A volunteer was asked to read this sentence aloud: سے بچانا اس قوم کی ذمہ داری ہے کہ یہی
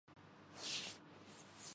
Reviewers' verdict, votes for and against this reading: rejected, 0, 2